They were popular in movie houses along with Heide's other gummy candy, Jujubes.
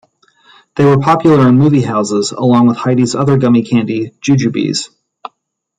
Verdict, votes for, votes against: accepted, 2, 0